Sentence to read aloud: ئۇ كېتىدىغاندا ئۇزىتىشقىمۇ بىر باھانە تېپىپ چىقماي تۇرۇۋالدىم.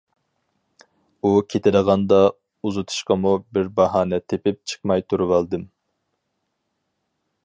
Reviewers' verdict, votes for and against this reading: accepted, 4, 0